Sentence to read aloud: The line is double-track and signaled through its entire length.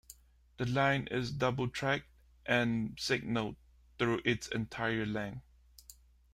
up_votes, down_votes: 2, 0